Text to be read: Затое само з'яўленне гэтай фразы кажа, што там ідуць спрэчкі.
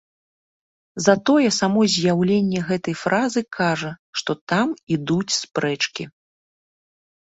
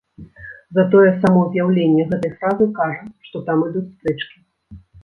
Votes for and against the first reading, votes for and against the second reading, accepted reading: 2, 0, 1, 2, first